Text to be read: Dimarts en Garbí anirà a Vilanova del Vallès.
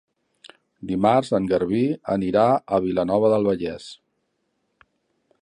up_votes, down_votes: 3, 0